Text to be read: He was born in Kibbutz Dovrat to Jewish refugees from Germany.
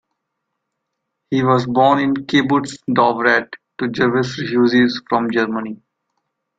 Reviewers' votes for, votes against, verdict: 1, 2, rejected